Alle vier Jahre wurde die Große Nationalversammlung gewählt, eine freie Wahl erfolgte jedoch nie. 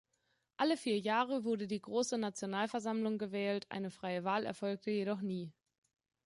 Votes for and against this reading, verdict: 2, 0, accepted